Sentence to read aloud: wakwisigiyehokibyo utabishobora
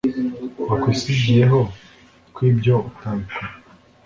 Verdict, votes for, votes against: rejected, 1, 2